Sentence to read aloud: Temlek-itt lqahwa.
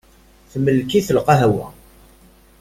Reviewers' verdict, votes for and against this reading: rejected, 0, 2